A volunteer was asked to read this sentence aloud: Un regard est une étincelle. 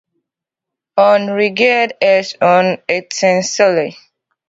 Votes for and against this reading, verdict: 0, 2, rejected